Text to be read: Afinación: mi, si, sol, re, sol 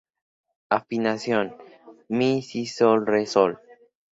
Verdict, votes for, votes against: accepted, 4, 0